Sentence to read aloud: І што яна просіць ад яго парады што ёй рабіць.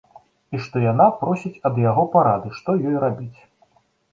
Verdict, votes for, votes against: accepted, 2, 0